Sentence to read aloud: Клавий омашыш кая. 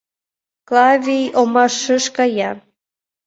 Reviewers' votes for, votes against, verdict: 2, 1, accepted